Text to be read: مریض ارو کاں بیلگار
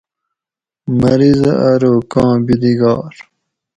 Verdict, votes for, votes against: accepted, 2, 0